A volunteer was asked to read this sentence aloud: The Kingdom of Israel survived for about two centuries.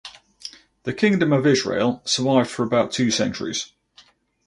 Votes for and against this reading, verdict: 4, 0, accepted